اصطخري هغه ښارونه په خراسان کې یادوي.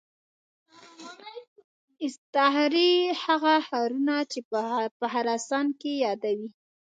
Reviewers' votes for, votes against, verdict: 0, 2, rejected